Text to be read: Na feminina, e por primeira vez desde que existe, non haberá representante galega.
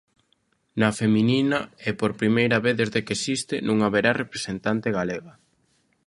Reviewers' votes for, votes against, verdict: 2, 0, accepted